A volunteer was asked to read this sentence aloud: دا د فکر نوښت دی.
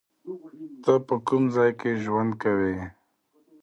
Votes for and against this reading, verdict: 0, 2, rejected